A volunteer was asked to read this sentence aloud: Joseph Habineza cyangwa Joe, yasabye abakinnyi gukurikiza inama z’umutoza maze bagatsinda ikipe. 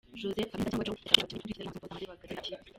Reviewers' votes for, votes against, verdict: 0, 2, rejected